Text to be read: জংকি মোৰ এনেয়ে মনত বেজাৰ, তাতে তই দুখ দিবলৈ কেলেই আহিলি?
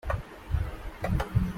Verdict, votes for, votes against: rejected, 0, 2